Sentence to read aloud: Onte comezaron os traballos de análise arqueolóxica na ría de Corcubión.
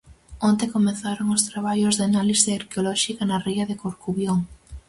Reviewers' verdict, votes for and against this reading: accepted, 4, 0